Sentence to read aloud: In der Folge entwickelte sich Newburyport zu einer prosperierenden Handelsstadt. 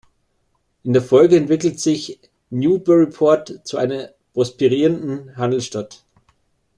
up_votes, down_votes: 1, 2